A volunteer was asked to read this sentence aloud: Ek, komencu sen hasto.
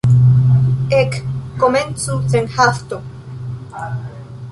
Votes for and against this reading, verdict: 2, 0, accepted